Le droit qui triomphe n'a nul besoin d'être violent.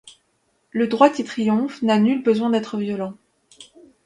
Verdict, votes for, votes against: accepted, 2, 0